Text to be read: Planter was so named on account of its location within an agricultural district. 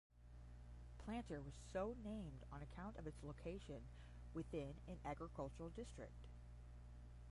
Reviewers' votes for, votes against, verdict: 5, 10, rejected